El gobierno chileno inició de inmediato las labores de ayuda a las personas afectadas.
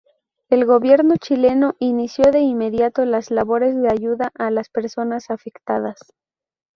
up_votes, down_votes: 2, 0